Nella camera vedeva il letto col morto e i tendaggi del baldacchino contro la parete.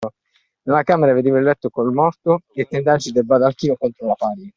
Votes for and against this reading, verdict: 2, 1, accepted